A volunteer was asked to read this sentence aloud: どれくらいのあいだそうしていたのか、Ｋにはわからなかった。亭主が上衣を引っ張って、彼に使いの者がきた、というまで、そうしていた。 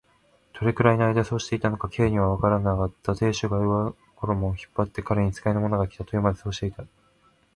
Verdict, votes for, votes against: rejected, 1, 2